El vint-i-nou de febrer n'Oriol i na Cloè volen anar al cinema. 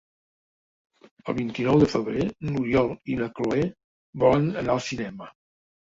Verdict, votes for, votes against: accepted, 3, 0